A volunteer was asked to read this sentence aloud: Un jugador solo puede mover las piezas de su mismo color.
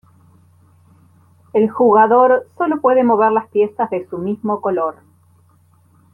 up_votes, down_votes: 0, 2